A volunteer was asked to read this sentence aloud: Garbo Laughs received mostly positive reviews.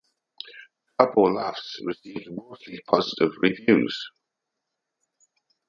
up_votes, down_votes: 2, 1